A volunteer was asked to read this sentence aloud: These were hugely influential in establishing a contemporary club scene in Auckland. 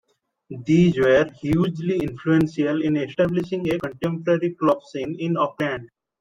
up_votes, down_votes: 2, 0